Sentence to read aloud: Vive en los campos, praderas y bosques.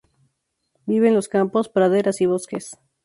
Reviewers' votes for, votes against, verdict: 2, 0, accepted